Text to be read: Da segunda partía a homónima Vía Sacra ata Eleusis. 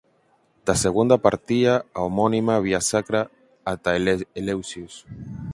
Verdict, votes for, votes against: rejected, 0, 4